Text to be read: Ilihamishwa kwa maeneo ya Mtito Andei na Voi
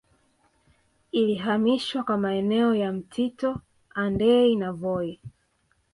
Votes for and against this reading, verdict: 2, 1, accepted